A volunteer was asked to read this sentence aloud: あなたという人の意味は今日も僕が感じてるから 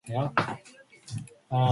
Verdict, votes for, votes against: rejected, 0, 2